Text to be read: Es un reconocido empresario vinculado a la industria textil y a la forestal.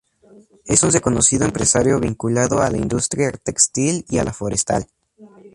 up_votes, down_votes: 4, 0